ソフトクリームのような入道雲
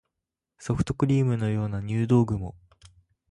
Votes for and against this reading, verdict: 2, 0, accepted